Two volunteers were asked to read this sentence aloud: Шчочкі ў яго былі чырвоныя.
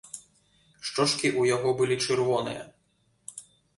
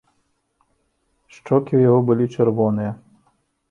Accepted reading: first